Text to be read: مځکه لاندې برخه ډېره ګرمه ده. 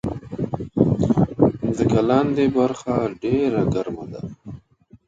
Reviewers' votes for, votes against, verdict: 0, 2, rejected